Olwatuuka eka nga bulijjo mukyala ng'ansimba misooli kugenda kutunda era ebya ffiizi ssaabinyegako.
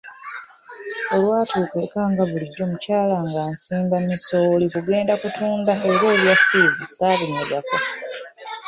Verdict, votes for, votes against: accepted, 2, 0